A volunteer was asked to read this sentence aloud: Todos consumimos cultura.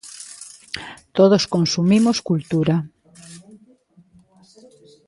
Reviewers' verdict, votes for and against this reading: accepted, 2, 0